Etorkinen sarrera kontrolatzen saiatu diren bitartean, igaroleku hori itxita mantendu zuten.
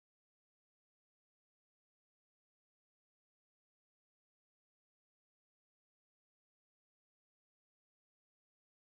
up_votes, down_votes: 0, 14